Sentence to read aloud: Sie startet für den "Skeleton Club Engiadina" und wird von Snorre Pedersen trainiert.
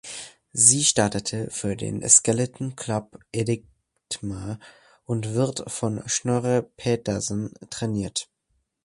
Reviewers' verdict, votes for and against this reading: rejected, 0, 3